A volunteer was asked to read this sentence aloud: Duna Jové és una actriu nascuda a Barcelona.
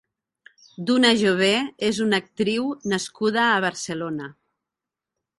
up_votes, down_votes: 2, 0